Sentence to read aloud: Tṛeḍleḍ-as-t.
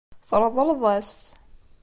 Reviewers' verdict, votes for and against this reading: accepted, 2, 0